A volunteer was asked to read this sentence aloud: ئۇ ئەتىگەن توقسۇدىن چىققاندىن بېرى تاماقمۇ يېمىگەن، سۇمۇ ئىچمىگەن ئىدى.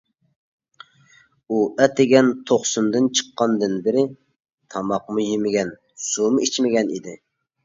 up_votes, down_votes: 0, 2